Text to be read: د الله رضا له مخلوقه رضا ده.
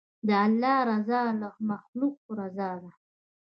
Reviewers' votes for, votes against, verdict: 1, 2, rejected